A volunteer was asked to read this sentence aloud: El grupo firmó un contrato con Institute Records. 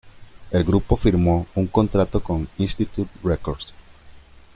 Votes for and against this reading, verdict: 2, 0, accepted